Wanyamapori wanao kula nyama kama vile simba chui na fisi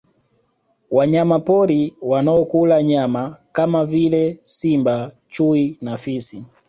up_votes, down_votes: 2, 0